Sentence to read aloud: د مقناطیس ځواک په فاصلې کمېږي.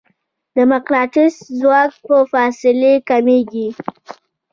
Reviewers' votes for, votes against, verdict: 2, 0, accepted